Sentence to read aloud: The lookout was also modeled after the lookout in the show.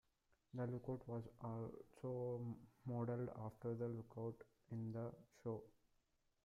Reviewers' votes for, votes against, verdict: 1, 2, rejected